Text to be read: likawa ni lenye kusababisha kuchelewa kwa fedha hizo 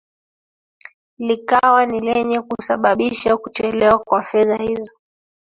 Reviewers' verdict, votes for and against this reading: accepted, 3, 1